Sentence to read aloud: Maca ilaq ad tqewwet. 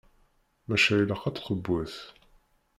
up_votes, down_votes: 0, 2